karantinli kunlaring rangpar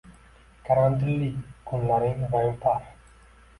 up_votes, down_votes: 1, 2